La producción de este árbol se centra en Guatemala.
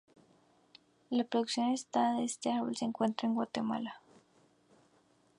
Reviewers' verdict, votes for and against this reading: rejected, 2, 2